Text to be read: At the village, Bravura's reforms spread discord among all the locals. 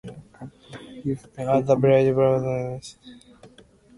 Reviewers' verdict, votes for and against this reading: rejected, 0, 2